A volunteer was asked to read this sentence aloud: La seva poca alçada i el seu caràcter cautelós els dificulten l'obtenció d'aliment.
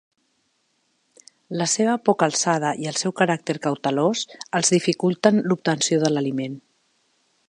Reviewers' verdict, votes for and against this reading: rejected, 0, 2